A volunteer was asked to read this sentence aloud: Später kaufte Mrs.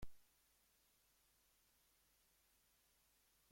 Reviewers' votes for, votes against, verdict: 0, 2, rejected